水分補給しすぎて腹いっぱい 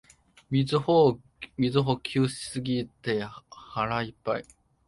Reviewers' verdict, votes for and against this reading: rejected, 0, 2